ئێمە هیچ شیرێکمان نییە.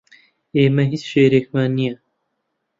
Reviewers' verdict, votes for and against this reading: rejected, 0, 2